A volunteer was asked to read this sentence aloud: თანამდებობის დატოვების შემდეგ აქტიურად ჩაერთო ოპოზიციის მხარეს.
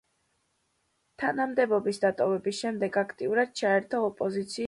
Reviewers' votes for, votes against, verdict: 0, 2, rejected